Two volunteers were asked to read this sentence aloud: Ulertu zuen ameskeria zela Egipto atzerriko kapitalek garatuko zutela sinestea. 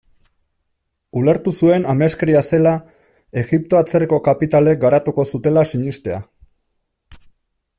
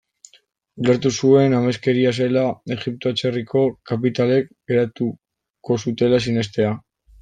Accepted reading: first